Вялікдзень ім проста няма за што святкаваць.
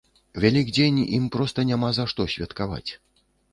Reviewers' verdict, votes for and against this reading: rejected, 1, 2